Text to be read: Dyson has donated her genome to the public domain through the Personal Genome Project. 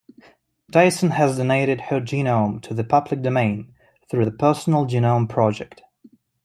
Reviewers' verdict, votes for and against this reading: accepted, 2, 0